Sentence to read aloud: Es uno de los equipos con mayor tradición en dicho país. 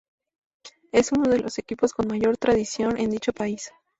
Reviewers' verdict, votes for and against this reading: rejected, 0, 2